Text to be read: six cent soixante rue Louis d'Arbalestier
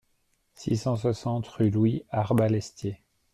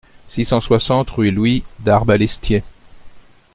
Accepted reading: second